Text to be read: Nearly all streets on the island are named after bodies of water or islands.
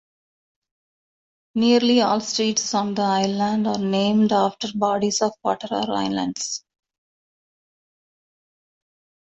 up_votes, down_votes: 2, 0